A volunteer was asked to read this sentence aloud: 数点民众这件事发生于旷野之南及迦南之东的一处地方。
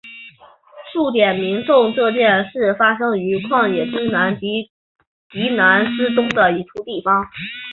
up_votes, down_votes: 3, 4